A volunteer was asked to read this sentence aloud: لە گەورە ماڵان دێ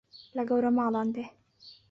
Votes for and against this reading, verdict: 2, 0, accepted